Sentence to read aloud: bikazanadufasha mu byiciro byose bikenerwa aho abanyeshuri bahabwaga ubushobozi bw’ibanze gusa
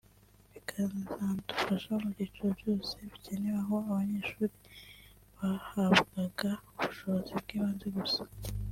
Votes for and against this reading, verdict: 2, 1, accepted